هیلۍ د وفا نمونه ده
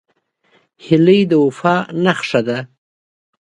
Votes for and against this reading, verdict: 1, 2, rejected